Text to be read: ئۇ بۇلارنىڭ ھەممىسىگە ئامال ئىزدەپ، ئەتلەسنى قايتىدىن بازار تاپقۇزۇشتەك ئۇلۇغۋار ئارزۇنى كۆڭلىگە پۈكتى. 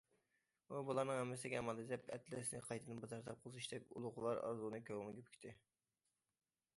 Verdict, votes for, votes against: rejected, 1, 2